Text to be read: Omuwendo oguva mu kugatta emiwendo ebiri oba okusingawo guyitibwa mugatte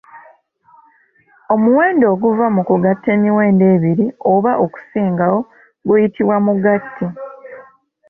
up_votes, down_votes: 2, 0